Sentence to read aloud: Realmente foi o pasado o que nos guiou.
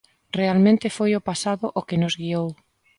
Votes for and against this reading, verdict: 2, 0, accepted